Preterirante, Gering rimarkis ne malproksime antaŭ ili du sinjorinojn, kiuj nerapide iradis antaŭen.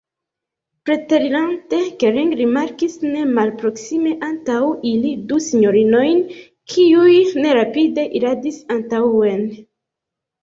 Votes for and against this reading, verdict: 1, 2, rejected